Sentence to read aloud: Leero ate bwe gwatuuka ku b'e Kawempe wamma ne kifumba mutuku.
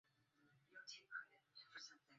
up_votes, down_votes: 0, 2